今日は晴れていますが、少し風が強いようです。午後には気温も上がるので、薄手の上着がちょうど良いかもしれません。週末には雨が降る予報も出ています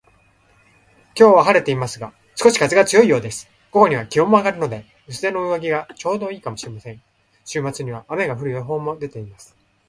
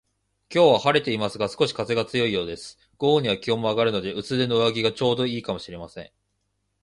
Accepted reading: first